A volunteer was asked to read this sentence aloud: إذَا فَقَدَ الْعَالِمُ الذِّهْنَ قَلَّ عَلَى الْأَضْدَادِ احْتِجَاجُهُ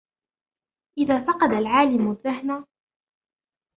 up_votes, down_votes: 0, 3